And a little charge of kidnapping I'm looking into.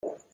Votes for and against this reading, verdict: 0, 2, rejected